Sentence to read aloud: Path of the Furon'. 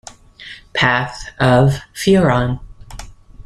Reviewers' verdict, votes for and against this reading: rejected, 0, 2